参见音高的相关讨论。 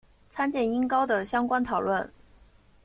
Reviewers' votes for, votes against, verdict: 2, 0, accepted